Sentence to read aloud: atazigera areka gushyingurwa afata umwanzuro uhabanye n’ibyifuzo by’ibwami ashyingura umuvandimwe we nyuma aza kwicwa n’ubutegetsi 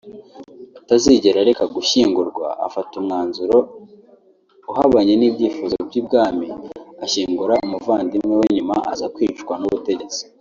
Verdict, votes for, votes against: accepted, 2, 0